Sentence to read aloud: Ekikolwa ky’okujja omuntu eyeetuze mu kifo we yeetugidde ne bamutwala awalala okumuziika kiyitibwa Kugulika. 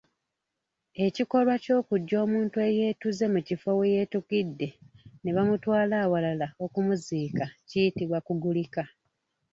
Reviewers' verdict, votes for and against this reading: accepted, 2, 0